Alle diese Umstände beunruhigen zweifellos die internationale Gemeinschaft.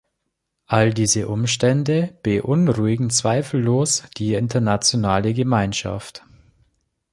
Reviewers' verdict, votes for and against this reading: rejected, 1, 2